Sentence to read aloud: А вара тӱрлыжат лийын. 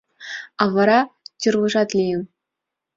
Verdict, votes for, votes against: accepted, 2, 0